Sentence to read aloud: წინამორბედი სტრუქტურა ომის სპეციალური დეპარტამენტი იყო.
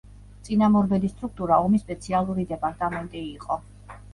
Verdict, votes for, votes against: rejected, 0, 2